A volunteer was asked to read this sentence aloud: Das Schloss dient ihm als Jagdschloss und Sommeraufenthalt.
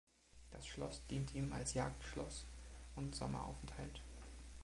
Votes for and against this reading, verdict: 2, 1, accepted